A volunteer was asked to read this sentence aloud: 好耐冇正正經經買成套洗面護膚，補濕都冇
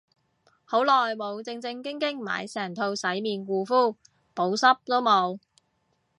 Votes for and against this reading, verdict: 3, 0, accepted